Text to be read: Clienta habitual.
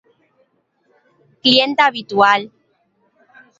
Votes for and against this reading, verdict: 0, 2, rejected